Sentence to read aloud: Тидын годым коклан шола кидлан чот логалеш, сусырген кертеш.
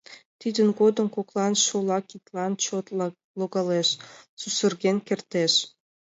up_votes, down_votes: 2, 0